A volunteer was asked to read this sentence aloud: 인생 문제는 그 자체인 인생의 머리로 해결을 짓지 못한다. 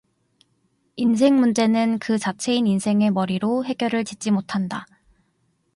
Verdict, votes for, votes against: accepted, 2, 0